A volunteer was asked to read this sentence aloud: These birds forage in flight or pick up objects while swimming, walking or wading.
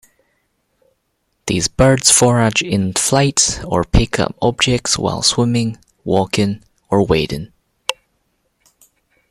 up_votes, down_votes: 2, 0